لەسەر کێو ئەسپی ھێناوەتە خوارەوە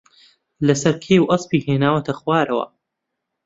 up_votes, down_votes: 2, 0